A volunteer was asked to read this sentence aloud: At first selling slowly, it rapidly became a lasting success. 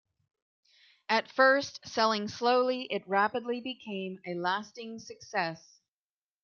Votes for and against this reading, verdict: 2, 0, accepted